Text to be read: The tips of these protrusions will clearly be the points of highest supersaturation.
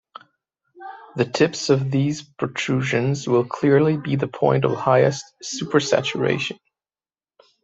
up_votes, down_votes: 0, 2